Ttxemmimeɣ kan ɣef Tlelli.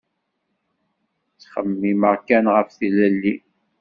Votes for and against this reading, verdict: 2, 0, accepted